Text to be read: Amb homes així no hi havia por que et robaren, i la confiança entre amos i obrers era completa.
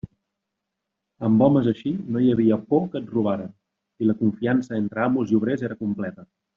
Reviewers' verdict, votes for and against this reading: accepted, 2, 0